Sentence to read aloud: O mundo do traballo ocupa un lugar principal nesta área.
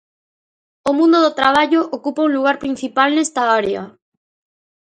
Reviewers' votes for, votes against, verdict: 2, 0, accepted